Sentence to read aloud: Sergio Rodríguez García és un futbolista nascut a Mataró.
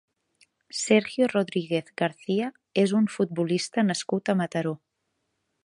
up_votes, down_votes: 3, 0